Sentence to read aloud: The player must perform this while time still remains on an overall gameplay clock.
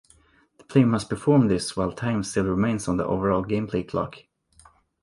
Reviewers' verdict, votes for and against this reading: rejected, 0, 2